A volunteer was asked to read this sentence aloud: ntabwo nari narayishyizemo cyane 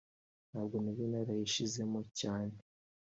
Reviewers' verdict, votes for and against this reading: rejected, 0, 2